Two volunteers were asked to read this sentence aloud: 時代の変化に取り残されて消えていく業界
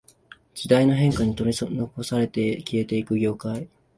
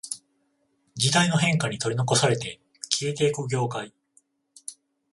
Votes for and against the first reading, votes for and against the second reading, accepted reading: 1, 2, 21, 7, second